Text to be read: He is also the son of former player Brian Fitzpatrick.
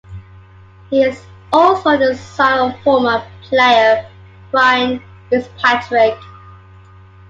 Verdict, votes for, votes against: accepted, 2, 0